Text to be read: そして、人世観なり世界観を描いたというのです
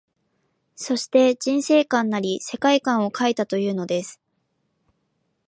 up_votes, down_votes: 2, 0